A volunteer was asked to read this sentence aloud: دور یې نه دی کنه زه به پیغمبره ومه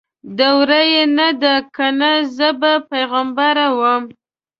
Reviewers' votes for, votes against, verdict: 2, 1, accepted